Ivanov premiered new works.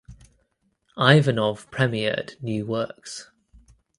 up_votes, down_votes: 2, 0